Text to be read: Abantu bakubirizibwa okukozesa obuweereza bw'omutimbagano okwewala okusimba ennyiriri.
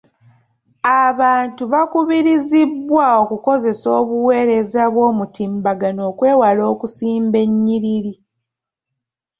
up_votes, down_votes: 2, 0